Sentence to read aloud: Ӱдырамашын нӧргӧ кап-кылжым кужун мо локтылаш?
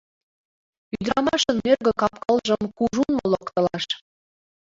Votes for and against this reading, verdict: 1, 2, rejected